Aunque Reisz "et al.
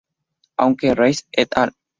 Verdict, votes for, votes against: rejected, 2, 2